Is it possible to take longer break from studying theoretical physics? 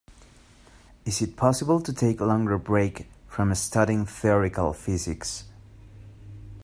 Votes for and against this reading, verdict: 2, 1, accepted